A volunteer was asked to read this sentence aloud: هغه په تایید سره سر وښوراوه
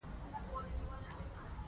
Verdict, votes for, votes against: accepted, 2, 1